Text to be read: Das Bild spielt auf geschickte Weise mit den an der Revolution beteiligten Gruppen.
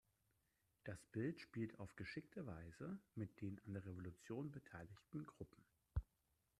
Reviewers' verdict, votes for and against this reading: rejected, 1, 2